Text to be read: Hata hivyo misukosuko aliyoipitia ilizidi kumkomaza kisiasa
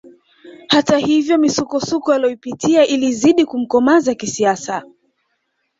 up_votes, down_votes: 2, 1